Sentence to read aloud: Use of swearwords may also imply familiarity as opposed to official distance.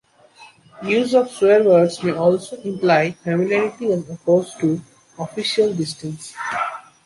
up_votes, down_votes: 2, 1